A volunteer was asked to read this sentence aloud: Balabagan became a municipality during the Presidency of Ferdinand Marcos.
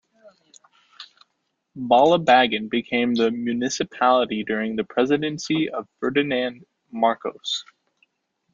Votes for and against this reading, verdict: 0, 2, rejected